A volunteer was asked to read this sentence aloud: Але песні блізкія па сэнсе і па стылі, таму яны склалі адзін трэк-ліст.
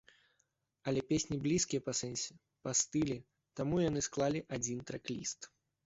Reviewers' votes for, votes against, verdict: 2, 0, accepted